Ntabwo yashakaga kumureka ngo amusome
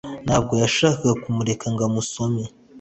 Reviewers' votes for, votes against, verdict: 2, 0, accepted